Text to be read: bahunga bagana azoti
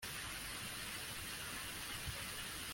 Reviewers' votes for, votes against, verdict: 0, 2, rejected